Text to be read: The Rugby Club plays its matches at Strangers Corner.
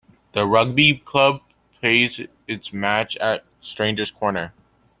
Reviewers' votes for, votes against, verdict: 1, 2, rejected